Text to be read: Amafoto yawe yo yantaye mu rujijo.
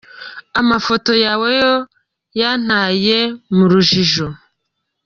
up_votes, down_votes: 3, 1